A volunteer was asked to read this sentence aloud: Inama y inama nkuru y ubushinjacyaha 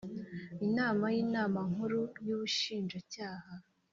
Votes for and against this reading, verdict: 2, 0, accepted